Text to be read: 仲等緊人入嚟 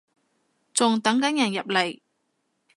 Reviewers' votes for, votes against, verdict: 2, 0, accepted